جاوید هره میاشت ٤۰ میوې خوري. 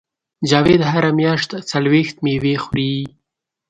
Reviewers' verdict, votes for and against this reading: rejected, 0, 2